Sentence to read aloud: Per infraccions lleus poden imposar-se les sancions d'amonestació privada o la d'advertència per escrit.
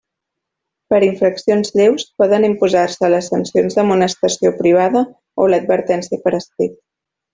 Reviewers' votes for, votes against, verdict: 0, 2, rejected